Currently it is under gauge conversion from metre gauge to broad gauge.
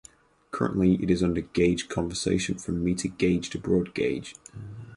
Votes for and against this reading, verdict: 2, 6, rejected